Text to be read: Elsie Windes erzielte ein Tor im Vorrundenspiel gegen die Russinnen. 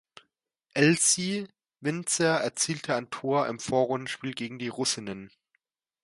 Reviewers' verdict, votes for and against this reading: rejected, 0, 2